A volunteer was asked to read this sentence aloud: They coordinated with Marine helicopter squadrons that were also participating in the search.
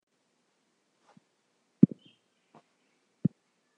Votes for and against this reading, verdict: 0, 3, rejected